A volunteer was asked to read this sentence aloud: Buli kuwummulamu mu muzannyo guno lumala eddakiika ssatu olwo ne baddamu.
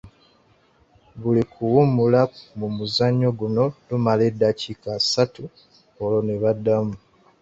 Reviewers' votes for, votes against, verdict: 0, 3, rejected